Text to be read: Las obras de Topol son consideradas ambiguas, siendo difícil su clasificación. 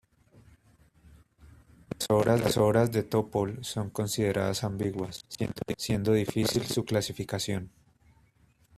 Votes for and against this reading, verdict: 0, 2, rejected